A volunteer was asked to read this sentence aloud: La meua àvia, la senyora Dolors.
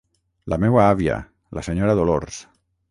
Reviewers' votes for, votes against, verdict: 6, 0, accepted